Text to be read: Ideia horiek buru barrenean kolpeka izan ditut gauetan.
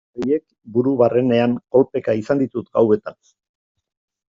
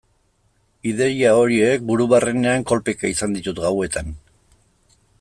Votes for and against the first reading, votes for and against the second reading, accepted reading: 0, 2, 2, 0, second